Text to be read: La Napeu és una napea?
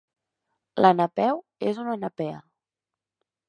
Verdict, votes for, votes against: rejected, 0, 2